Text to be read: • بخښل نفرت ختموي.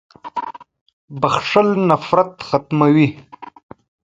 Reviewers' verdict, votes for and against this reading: rejected, 1, 2